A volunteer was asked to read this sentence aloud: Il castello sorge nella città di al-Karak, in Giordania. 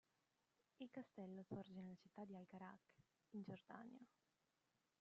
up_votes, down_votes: 0, 2